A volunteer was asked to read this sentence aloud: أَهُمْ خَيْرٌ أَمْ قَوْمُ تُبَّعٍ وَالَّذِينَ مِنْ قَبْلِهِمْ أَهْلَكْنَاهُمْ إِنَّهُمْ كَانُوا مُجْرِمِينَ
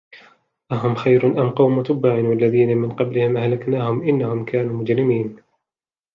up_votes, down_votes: 2, 1